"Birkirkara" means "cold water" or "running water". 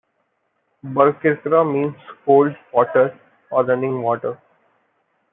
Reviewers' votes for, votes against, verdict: 2, 0, accepted